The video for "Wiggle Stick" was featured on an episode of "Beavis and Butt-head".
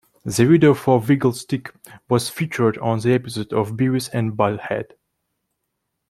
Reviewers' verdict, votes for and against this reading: rejected, 0, 2